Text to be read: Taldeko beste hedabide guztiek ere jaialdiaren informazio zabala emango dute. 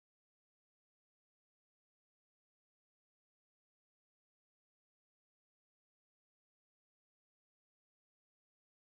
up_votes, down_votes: 0, 3